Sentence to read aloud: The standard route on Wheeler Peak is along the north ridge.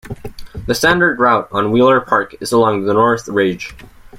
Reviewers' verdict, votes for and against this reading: rejected, 1, 2